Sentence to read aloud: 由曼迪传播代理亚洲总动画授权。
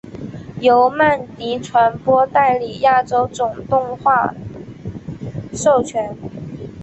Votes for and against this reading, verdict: 4, 0, accepted